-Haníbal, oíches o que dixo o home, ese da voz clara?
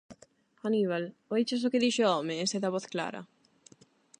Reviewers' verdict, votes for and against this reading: accepted, 8, 0